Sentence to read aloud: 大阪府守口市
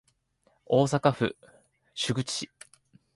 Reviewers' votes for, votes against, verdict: 0, 2, rejected